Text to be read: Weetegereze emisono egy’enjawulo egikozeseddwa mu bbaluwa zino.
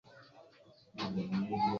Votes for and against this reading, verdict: 0, 2, rejected